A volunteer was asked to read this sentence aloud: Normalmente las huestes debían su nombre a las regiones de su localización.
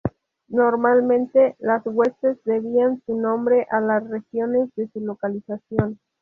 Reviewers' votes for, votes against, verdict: 0, 2, rejected